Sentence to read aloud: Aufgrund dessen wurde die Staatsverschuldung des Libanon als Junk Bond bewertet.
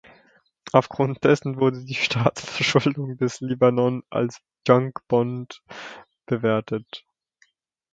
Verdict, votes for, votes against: rejected, 1, 2